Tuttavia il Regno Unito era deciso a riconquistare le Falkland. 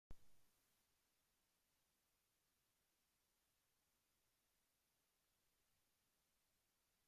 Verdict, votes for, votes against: rejected, 0, 2